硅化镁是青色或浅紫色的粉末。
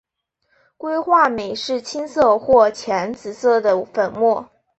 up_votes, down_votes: 2, 0